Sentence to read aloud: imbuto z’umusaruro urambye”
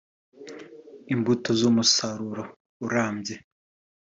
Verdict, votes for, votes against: accepted, 2, 0